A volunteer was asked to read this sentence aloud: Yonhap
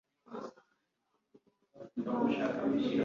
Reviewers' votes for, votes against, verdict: 1, 2, rejected